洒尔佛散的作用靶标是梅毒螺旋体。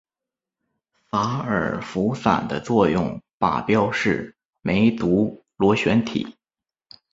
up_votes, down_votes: 7, 4